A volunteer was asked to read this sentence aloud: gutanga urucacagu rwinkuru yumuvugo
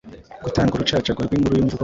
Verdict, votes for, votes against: rejected, 1, 2